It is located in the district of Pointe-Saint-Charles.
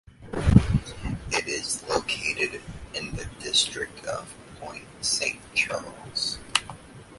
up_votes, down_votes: 0, 2